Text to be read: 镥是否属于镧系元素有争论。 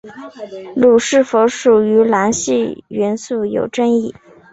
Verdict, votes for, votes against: accepted, 3, 1